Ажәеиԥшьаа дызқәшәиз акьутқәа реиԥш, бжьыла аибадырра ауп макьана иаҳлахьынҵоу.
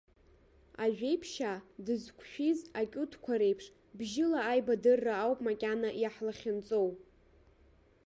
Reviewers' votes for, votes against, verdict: 0, 2, rejected